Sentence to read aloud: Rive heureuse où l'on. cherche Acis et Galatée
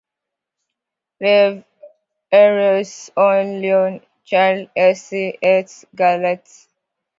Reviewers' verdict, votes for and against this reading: rejected, 0, 2